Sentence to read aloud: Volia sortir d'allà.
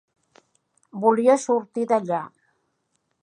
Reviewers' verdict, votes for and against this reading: accepted, 3, 0